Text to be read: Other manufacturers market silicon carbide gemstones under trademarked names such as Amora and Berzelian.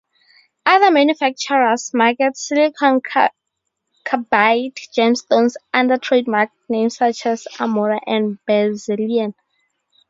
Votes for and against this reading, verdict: 0, 2, rejected